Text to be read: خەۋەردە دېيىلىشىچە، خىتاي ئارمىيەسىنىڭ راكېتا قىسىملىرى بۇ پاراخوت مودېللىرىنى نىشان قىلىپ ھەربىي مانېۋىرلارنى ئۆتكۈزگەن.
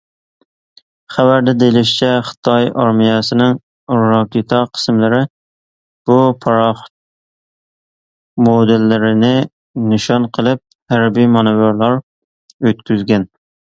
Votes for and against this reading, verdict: 0, 2, rejected